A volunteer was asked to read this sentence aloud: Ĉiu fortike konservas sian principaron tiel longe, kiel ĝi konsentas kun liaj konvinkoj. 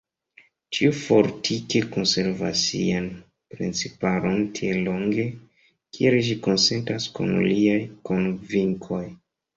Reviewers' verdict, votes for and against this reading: rejected, 1, 2